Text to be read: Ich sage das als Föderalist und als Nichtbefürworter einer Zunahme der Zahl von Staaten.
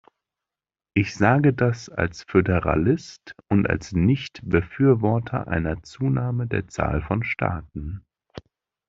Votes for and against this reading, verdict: 2, 0, accepted